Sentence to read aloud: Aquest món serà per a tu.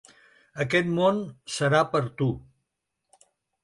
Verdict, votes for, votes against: rejected, 1, 2